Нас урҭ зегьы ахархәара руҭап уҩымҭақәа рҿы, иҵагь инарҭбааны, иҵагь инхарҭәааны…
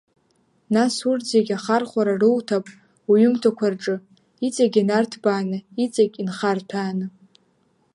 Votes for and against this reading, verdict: 2, 0, accepted